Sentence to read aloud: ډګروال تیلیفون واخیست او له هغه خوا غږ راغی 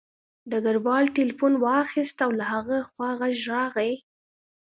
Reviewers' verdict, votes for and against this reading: accepted, 2, 0